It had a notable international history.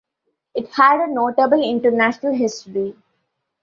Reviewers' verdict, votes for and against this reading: accepted, 2, 1